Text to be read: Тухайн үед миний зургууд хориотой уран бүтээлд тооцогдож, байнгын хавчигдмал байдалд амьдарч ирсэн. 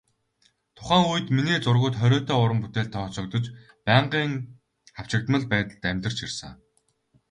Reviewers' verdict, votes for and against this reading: rejected, 0, 2